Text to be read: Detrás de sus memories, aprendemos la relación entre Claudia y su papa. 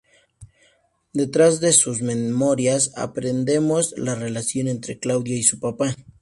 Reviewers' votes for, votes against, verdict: 2, 0, accepted